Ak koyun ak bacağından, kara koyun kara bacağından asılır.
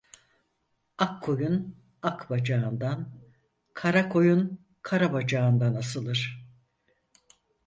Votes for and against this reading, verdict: 4, 0, accepted